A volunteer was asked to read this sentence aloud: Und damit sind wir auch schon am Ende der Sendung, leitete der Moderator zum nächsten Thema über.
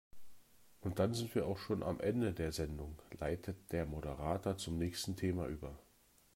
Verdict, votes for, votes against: rejected, 1, 2